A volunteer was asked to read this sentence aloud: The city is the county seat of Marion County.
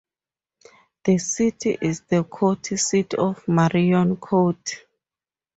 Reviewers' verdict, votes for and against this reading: rejected, 0, 2